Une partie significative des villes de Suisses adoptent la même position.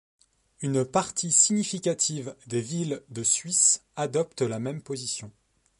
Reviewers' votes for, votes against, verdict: 3, 0, accepted